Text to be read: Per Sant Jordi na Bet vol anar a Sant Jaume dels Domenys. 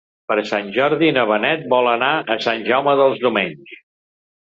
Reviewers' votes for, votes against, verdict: 1, 2, rejected